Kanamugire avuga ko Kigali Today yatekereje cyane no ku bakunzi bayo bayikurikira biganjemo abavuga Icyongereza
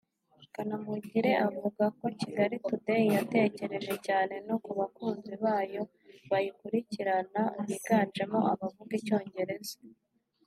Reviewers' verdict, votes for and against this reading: rejected, 0, 2